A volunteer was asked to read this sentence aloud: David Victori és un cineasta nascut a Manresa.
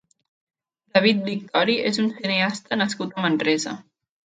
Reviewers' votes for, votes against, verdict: 0, 2, rejected